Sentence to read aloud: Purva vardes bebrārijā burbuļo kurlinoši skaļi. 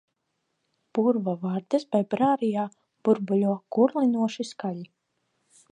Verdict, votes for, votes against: accepted, 2, 0